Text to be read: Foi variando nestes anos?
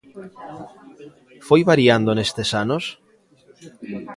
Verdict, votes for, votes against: rejected, 0, 2